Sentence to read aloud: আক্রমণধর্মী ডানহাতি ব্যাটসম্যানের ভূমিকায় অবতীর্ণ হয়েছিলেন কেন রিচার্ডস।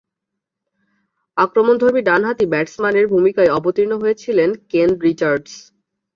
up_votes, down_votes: 3, 0